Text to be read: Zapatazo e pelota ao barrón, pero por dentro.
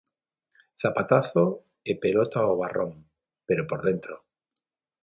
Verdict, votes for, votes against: accepted, 6, 0